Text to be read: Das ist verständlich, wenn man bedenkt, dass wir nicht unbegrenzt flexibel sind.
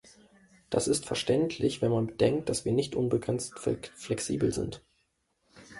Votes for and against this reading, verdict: 0, 2, rejected